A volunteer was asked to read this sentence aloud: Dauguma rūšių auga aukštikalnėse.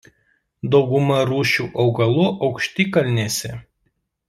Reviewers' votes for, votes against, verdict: 0, 2, rejected